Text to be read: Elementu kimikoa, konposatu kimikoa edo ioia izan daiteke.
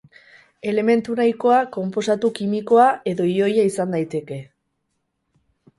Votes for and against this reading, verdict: 2, 6, rejected